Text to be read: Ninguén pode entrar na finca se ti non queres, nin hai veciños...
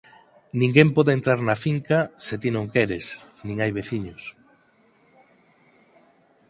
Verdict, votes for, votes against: accepted, 4, 0